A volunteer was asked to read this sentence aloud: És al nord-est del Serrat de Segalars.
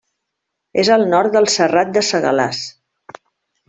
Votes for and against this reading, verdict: 0, 2, rejected